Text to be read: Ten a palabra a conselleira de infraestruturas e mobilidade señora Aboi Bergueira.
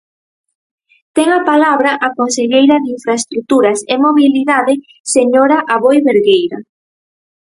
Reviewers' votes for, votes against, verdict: 4, 0, accepted